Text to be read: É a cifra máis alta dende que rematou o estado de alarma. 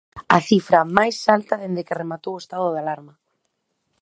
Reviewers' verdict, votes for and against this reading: rejected, 0, 2